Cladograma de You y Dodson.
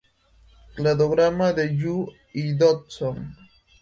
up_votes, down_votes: 2, 0